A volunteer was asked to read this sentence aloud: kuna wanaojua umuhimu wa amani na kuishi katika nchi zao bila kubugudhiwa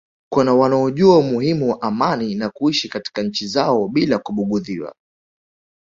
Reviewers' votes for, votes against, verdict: 1, 2, rejected